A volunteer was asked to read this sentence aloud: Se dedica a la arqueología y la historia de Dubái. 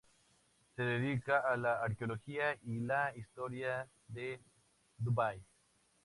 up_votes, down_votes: 2, 0